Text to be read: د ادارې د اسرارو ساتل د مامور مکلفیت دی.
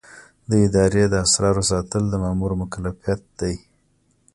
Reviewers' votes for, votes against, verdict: 2, 0, accepted